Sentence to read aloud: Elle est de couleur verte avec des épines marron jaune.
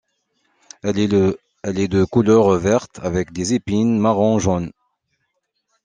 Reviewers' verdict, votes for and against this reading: rejected, 0, 2